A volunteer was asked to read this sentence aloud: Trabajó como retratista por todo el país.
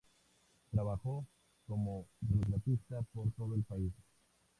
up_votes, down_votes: 0, 2